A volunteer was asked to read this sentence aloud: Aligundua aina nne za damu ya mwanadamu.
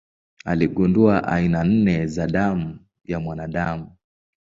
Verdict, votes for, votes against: accepted, 17, 1